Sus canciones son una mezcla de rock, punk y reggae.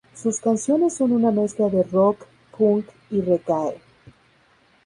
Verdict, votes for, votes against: rejected, 0, 4